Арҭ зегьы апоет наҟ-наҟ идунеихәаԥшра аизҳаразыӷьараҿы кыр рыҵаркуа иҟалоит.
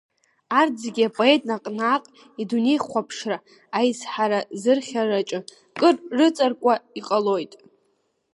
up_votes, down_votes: 2, 0